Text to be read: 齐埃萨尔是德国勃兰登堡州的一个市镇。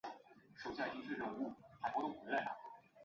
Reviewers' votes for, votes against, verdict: 2, 3, rejected